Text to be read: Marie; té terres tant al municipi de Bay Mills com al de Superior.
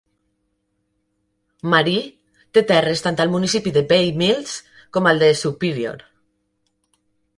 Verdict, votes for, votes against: accepted, 2, 0